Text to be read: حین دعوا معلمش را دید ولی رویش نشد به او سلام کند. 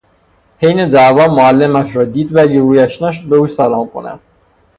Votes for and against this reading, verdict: 3, 0, accepted